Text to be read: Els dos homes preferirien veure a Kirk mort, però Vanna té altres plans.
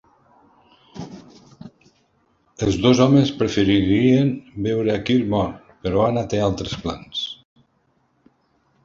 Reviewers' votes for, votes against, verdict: 1, 2, rejected